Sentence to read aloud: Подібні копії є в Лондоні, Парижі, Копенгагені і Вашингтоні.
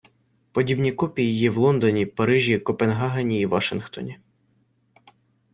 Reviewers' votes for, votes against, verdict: 1, 2, rejected